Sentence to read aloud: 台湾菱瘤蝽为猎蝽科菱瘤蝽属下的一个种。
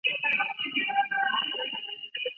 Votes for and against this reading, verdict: 1, 3, rejected